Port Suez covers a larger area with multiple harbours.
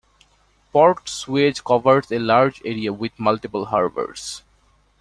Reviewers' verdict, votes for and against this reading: accepted, 2, 0